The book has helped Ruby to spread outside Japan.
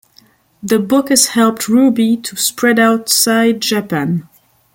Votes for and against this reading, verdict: 2, 0, accepted